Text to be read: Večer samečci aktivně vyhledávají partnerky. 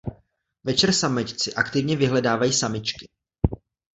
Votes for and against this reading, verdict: 0, 2, rejected